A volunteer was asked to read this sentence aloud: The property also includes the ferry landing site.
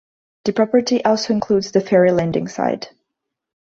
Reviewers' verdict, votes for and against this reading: rejected, 1, 2